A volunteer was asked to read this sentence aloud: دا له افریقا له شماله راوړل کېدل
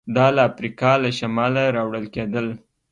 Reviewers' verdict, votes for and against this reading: accepted, 2, 1